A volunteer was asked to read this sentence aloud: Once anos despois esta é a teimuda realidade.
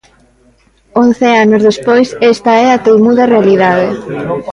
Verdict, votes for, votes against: rejected, 0, 2